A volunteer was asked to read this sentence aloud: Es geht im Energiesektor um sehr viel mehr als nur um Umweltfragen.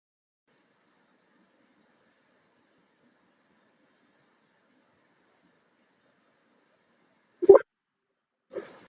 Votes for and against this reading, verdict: 0, 2, rejected